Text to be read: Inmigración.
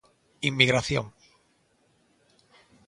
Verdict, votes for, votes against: accepted, 2, 0